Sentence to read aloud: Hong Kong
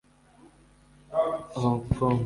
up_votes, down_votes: 0, 2